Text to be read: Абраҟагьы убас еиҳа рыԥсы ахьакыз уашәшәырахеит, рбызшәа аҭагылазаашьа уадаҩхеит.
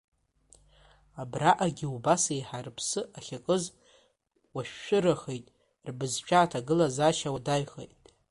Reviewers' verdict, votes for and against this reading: accepted, 2, 0